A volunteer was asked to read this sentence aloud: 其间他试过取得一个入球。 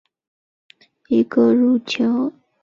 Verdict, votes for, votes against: rejected, 0, 2